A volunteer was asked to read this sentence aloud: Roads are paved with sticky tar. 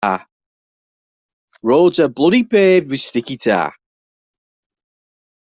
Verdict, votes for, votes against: rejected, 0, 2